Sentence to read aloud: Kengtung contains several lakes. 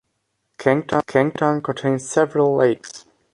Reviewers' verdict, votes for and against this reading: rejected, 0, 3